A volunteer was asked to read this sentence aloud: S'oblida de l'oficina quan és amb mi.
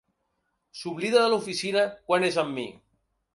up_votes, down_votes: 6, 0